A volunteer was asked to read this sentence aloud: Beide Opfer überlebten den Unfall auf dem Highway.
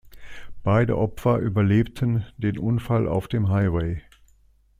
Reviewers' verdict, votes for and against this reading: accepted, 2, 0